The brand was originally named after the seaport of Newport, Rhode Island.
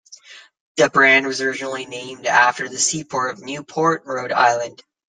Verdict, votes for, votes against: accepted, 2, 0